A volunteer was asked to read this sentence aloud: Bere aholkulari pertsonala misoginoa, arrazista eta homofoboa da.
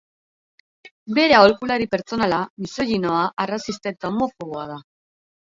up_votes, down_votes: 0, 2